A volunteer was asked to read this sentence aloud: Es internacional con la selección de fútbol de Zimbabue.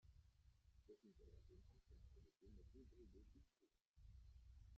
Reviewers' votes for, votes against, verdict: 0, 2, rejected